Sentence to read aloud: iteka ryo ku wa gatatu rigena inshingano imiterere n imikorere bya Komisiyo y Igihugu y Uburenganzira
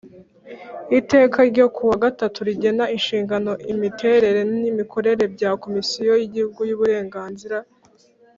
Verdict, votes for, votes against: accepted, 3, 0